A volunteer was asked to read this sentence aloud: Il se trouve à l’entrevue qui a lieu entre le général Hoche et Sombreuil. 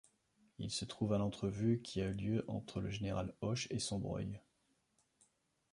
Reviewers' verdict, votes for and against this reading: rejected, 1, 2